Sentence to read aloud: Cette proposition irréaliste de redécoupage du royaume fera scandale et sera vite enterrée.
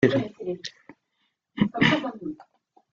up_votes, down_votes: 0, 4